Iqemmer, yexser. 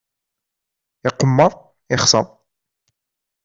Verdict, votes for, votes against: accepted, 2, 0